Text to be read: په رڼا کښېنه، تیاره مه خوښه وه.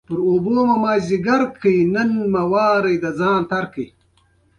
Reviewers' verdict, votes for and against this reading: rejected, 1, 2